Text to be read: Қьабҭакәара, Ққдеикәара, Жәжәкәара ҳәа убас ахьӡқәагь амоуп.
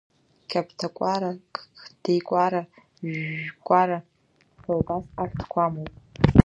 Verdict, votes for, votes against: rejected, 1, 2